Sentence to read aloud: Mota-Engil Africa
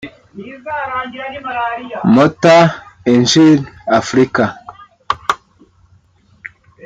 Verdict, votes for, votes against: rejected, 1, 2